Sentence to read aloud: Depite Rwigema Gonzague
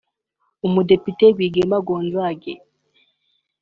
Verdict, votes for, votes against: accepted, 2, 0